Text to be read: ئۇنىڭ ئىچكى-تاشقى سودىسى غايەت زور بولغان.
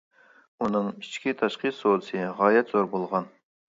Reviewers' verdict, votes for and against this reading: accepted, 2, 0